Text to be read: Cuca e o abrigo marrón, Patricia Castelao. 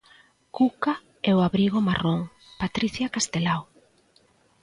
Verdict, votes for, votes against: accepted, 2, 0